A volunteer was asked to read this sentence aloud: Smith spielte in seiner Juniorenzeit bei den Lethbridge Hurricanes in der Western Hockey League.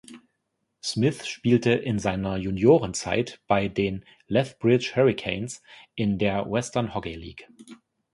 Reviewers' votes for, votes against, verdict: 2, 0, accepted